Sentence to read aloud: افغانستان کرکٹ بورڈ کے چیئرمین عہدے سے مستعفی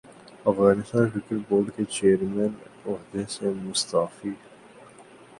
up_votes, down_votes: 6, 0